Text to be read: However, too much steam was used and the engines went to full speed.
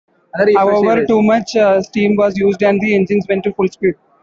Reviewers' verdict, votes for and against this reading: accepted, 2, 0